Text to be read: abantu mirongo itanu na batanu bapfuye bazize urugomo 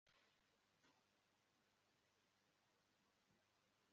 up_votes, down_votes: 1, 2